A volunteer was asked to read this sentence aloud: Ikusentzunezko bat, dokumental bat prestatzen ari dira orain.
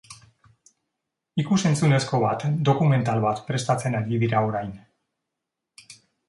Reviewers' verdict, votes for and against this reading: accepted, 3, 0